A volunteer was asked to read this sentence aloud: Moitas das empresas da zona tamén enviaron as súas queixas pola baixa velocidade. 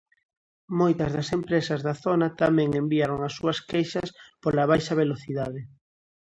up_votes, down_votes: 2, 0